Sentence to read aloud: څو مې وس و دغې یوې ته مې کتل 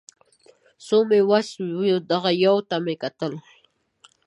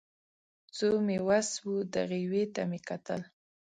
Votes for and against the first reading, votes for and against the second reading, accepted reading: 0, 2, 2, 0, second